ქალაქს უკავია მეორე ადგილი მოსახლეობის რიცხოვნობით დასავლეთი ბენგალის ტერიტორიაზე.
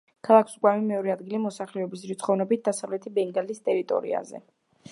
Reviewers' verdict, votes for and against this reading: rejected, 1, 2